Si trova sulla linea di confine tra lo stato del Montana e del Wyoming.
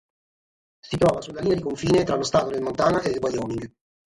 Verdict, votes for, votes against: rejected, 3, 3